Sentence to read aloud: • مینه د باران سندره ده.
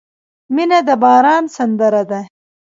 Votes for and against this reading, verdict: 0, 2, rejected